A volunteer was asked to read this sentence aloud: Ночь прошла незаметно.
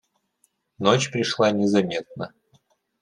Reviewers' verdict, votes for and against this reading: rejected, 0, 2